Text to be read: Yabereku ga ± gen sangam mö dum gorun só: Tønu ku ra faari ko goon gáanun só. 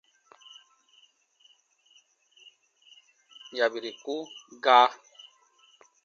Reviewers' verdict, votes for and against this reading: rejected, 0, 2